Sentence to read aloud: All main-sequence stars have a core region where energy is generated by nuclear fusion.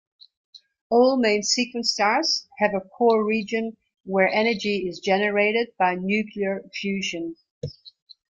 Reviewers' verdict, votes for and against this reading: accepted, 2, 1